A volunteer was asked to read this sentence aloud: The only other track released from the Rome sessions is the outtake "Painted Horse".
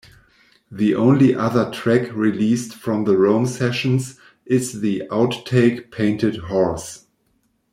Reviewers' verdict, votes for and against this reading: rejected, 1, 2